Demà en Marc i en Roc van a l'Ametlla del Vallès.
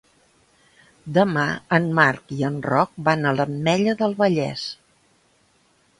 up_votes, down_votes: 3, 0